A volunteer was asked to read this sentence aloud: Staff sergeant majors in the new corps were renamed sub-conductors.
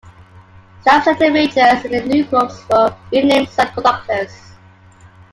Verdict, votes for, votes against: accepted, 2, 0